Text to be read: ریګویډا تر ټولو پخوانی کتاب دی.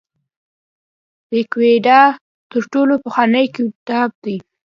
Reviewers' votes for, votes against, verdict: 1, 2, rejected